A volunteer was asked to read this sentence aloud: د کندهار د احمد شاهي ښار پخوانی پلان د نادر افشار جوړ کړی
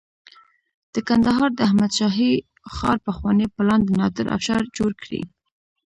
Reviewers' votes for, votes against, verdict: 0, 2, rejected